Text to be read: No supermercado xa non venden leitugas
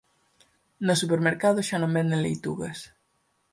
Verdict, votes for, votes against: accepted, 4, 0